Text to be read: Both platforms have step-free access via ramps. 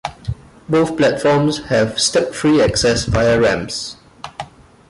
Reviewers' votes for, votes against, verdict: 2, 0, accepted